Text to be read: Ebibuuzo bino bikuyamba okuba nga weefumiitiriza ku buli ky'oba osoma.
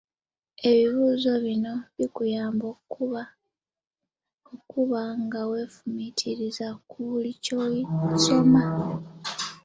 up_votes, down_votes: 1, 2